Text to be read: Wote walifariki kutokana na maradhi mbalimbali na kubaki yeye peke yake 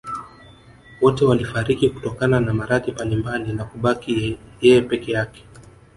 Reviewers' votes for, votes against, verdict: 2, 0, accepted